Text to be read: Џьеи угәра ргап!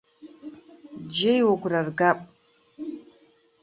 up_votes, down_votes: 1, 2